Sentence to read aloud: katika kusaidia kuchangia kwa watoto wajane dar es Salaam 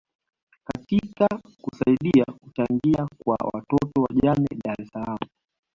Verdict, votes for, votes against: rejected, 1, 2